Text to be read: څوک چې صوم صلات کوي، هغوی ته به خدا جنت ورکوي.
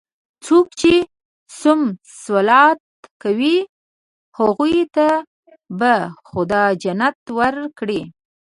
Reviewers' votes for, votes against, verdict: 0, 2, rejected